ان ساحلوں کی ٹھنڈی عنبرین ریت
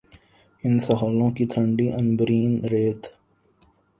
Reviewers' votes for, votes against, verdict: 0, 2, rejected